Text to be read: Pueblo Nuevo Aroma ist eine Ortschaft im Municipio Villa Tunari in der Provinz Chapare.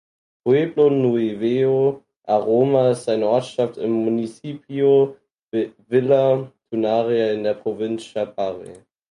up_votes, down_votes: 2, 4